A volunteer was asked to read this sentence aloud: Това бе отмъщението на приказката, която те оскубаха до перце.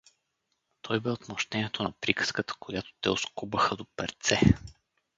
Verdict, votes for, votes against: rejected, 0, 4